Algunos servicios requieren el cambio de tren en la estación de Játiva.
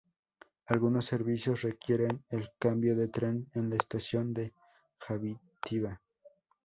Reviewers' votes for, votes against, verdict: 2, 0, accepted